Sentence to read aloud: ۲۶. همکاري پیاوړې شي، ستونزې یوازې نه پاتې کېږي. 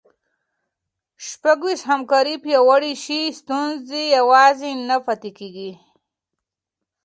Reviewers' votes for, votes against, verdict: 0, 2, rejected